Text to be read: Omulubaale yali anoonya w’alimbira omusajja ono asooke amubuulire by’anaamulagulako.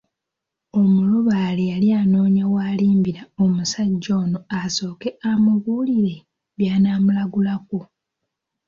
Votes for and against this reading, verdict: 2, 0, accepted